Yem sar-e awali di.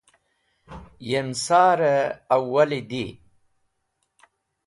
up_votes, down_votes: 2, 0